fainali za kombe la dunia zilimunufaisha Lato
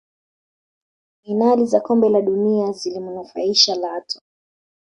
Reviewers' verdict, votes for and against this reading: accepted, 2, 0